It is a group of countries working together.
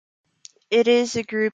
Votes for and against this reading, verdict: 0, 3, rejected